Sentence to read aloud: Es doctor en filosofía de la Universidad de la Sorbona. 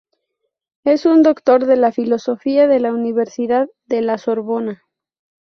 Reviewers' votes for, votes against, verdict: 0, 2, rejected